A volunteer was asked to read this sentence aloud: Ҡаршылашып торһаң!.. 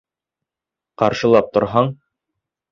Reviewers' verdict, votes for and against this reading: rejected, 1, 2